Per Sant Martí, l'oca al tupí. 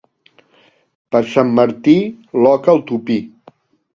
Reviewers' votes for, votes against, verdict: 2, 0, accepted